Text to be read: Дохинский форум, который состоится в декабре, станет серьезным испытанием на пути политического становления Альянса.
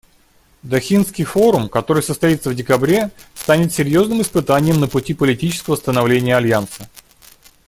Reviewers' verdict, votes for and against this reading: accepted, 2, 0